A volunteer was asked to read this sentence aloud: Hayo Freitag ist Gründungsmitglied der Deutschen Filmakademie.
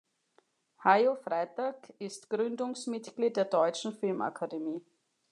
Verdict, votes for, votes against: accepted, 2, 0